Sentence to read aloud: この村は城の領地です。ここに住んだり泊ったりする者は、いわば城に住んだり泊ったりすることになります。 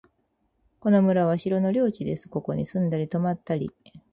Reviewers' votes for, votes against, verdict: 0, 6, rejected